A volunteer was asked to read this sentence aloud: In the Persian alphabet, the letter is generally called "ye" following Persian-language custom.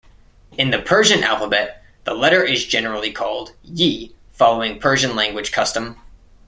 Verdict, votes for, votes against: accepted, 2, 0